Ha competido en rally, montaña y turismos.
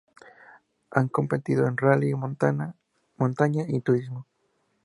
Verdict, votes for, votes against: rejected, 0, 2